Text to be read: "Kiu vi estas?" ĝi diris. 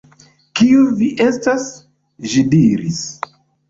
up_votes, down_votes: 2, 0